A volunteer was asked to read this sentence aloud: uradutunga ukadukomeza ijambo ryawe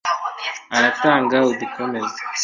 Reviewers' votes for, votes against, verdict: 0, 2, rejected